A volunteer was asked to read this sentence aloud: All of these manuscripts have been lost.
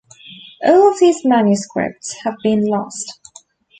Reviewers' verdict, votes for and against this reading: accepted, 2, 1